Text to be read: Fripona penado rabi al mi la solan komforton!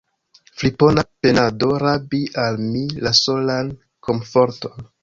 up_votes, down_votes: 1, 2